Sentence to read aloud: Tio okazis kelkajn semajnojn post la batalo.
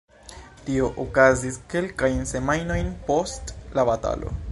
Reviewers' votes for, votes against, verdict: 2, 0, accepted